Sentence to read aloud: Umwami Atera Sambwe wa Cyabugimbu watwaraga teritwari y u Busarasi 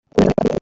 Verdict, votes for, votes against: rejected, 0, 2